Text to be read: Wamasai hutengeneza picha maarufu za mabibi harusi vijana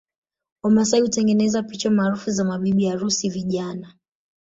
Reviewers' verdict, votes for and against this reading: rejected, 1, 2